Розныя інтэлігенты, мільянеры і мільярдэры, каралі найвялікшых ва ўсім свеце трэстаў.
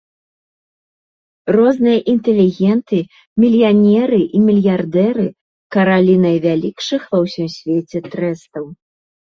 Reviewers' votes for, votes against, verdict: 1, 2, rejected